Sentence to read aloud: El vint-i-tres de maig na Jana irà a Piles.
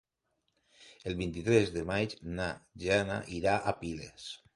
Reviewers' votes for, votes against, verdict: 3, 0, accepted